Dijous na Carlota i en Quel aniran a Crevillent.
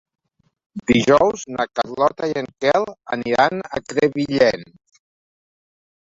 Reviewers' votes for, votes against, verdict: 1, 2, rejected